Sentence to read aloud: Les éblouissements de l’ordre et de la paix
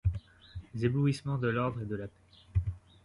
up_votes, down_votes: 0, 2